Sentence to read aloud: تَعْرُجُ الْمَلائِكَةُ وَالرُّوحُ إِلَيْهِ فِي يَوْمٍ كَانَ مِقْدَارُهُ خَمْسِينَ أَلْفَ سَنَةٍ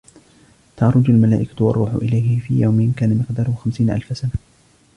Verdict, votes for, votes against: accepted, 2, 1